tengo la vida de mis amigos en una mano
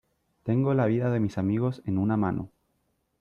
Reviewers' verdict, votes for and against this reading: accepted, 2, 0